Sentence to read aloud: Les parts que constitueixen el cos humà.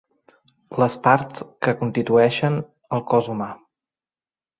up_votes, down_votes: 0, 2